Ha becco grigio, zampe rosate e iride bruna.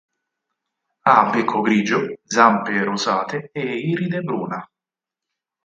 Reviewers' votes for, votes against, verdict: 4, 0, accepted